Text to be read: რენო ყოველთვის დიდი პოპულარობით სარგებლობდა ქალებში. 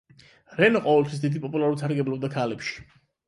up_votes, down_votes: 8, 4